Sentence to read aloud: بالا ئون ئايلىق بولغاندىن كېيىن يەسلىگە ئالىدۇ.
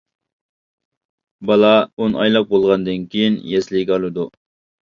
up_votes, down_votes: 2, 1